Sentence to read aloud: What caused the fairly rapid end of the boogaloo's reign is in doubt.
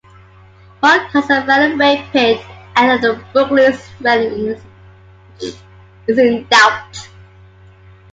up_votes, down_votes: 0, 2